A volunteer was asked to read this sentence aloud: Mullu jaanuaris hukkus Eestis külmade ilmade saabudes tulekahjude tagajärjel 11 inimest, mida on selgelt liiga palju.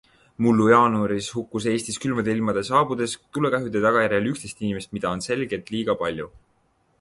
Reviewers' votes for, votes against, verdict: 0, 2, rejected